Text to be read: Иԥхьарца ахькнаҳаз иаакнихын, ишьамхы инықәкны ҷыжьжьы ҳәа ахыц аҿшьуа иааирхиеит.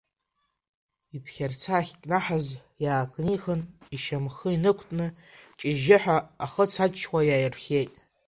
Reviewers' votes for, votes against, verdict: 1, 2, rejected